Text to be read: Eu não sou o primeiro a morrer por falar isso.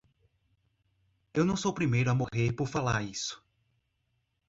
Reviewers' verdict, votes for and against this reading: accepted, 3, 0